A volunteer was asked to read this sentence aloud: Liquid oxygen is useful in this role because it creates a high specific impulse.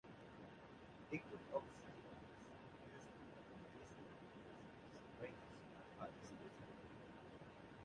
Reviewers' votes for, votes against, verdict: 0, 2, rejected